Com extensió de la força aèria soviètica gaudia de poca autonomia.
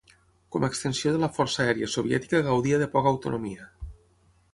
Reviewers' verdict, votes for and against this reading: accepted, 6, 0